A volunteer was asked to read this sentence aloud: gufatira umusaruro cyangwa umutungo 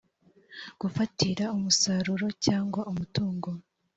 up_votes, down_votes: 3, 0